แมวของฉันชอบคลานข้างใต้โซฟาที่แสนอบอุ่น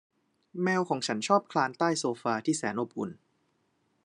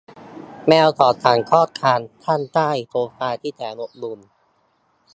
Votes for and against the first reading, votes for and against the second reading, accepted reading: 2, 1, 0, 2, first